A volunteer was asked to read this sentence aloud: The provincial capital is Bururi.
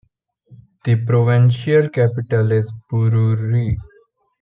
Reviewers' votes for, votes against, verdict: 0, 2, rejected